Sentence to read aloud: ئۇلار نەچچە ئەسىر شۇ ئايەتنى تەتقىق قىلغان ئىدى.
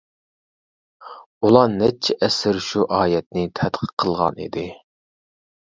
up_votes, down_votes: 2, 0